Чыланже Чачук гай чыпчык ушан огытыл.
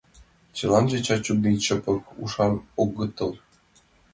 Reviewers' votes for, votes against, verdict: 2, 4, rejected